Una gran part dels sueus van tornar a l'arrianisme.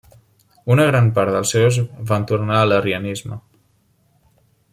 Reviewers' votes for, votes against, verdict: 1, 2, rejected